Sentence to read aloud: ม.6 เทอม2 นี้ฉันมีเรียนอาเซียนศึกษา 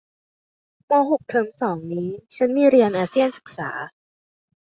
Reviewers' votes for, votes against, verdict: 0, 2, rejected